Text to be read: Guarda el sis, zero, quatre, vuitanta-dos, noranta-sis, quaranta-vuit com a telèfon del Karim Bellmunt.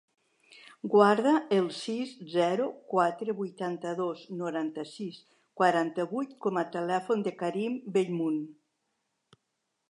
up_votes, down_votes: 2, 3